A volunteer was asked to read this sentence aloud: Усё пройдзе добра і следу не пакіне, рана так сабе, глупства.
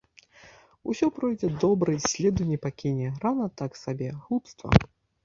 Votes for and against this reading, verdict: 0, 2, rejected